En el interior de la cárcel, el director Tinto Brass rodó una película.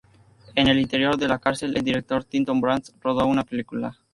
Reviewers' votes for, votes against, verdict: 4, 0, accepted